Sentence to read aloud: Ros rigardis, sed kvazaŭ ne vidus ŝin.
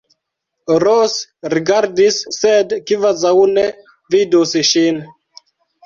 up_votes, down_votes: 0, 2